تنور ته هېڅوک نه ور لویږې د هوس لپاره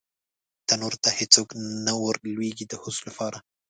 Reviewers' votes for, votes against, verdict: 0, 2, rejected